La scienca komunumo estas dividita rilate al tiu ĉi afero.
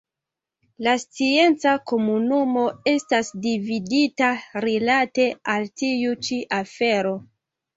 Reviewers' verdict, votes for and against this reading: accepted, 2, 0